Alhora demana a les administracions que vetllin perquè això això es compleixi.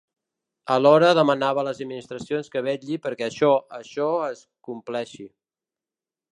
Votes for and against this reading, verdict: 0, 2, rejected